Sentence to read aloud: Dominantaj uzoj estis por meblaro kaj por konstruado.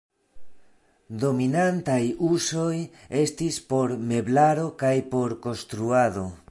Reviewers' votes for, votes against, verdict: 1, 2, rejected